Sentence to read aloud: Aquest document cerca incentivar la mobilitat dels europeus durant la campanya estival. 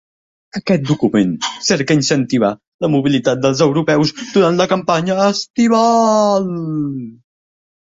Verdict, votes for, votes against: accepted, 3, 0